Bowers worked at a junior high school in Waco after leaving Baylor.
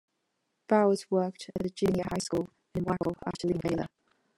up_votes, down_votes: 1, 2